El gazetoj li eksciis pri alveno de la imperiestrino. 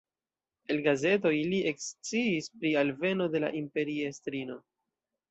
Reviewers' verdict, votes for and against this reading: accepted, 2, 1